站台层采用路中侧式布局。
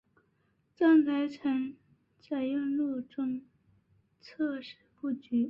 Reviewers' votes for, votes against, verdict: 0, 4, rejected